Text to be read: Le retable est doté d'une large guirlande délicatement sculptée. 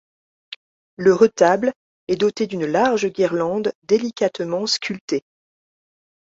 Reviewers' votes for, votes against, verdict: 2, 0, accepted